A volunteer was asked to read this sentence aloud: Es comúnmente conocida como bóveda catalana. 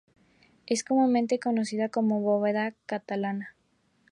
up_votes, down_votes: 2, 0